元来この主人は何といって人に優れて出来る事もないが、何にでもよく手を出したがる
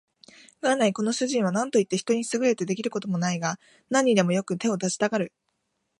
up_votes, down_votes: 2, 0